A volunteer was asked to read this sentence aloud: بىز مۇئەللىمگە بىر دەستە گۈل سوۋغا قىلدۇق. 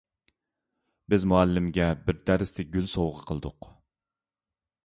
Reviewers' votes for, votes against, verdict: 0, 2, rejected